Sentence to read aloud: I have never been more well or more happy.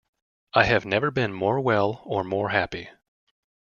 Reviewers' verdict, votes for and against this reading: accepted, 2, 0